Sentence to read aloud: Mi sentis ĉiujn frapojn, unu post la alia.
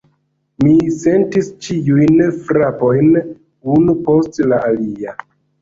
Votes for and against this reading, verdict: 0, 2, rejected